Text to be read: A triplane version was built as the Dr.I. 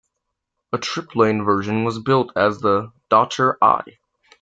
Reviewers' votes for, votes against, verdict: 2, 0, accepted